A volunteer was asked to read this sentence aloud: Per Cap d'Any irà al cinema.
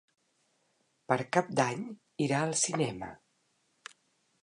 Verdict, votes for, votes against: accepted, 4, 0